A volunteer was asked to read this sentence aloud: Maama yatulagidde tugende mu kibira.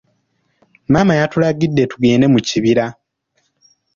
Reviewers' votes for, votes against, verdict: 2, 1, accepted